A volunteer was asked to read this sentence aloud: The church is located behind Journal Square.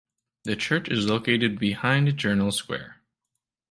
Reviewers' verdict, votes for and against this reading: accepted, 2, 0